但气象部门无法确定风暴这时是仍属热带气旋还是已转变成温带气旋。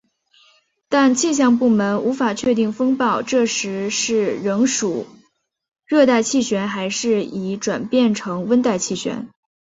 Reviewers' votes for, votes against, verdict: 3, 0, accepted